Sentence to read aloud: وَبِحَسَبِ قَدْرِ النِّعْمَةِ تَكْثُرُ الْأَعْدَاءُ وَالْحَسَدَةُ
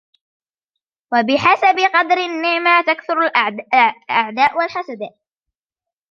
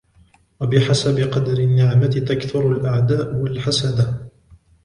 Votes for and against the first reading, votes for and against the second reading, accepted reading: 0, 2, 2, 0, second